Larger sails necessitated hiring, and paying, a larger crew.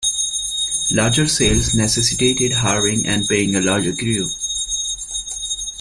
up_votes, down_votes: 2, 3